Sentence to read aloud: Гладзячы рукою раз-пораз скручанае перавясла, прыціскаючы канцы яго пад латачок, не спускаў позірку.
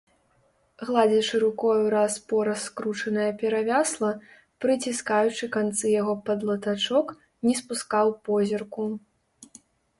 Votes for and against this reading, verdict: 2, 0, accepted